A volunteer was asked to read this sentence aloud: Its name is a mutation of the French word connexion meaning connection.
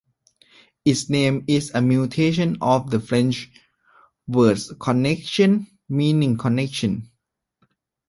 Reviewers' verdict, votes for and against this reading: accepted, 2, 1